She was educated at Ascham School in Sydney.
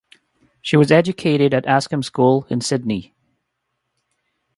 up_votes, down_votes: 2, 0